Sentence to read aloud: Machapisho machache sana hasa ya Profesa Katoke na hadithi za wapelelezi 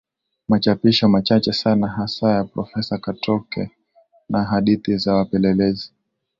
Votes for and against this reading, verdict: 13, 1, accepted